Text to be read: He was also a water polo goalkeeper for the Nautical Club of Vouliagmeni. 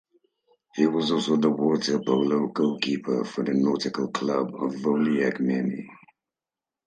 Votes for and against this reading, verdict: 2, 2, rejected